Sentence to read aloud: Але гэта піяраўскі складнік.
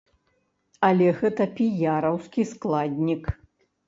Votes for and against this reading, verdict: 2, 0, accepted